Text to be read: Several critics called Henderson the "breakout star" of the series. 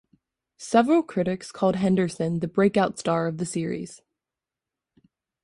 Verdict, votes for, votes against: accepted, 2, 0